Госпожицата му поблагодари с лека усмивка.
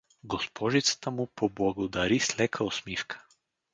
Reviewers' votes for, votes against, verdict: 4, 0, accepted